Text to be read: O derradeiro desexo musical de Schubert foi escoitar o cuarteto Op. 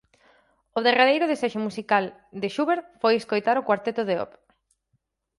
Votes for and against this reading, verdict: 2, 4, rejected